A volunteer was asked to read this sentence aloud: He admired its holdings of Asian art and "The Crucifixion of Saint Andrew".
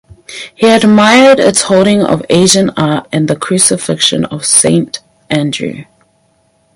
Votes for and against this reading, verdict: 2, 4, rejected